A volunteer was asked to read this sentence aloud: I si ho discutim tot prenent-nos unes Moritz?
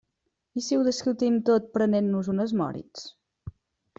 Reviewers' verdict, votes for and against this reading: accepted, 2, 0